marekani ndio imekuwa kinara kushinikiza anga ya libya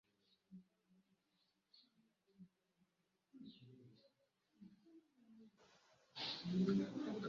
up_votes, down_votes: 0, 2